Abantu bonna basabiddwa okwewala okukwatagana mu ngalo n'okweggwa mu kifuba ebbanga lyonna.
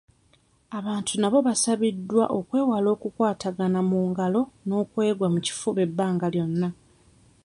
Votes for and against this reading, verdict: 0, 2, rejected